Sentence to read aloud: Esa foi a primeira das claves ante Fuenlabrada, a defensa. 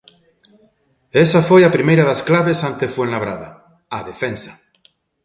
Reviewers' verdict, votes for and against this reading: accepted, 2, 0